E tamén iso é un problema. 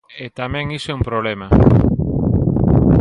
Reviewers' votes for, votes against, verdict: 2, 1, accepted